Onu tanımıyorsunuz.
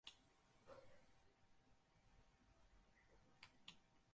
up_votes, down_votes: 0, 4